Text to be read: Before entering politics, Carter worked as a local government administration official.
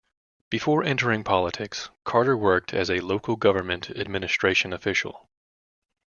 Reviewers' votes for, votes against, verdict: 3, 0, accepted